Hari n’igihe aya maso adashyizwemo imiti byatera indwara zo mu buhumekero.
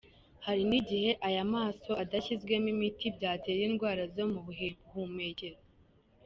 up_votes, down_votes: 1, 3